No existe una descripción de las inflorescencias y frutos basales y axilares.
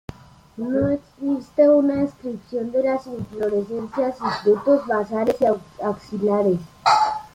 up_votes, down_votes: 0, 2